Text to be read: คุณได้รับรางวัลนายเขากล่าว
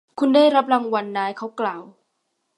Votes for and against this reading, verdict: 1, 2, rejected